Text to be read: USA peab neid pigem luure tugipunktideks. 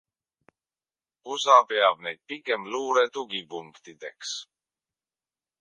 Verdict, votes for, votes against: rejected, 0, 2